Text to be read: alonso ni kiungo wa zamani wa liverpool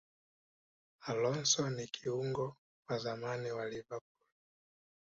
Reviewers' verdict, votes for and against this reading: accepted, 2, 0